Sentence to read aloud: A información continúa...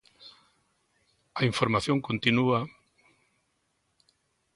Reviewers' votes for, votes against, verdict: 2, 0, accepted